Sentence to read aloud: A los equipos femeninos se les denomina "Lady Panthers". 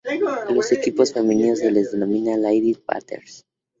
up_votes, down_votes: 2, 0